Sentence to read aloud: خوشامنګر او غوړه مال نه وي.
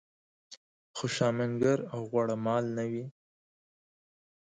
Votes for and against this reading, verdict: 2, 0, accepted